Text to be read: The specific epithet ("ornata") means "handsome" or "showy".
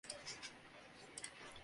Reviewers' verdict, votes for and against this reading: rejected, 0, 2